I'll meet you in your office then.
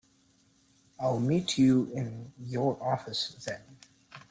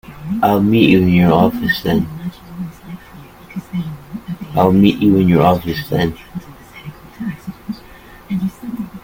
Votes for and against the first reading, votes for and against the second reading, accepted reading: 2, 0, 0, 2, first